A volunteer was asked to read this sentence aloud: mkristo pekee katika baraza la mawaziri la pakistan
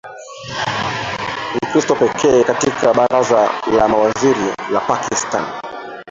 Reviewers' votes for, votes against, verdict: 0, 2, rejected